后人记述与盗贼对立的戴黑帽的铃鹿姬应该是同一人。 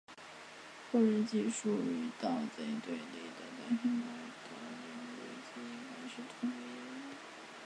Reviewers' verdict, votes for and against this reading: rejected, 2, 4